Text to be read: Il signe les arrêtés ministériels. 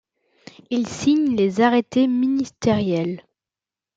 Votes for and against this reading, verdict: 2, 0, accepted